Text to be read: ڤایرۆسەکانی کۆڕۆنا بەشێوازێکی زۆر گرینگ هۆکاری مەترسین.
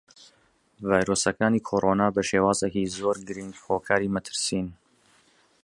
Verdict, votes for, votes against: accepted, 2, 0